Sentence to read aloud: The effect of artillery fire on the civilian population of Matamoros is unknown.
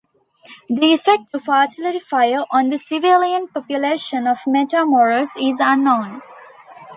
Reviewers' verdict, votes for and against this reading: accepted, 2, 0